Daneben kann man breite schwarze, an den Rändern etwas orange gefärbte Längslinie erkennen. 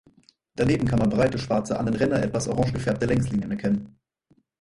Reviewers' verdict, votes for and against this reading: rejected, 0, 4